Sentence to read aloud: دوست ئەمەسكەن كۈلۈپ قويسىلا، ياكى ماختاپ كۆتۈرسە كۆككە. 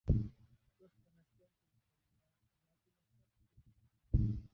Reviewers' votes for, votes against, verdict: 0, 2, rejected